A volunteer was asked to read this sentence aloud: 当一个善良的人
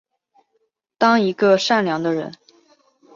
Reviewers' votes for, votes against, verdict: 4, 0, accepted